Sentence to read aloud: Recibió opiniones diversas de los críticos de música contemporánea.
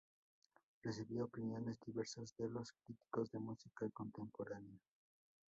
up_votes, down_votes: 2, 0